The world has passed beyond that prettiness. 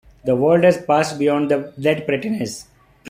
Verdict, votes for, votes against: rejected, 1, 2